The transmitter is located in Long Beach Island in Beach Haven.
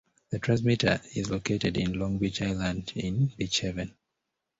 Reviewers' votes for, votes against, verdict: 2, 0, accepted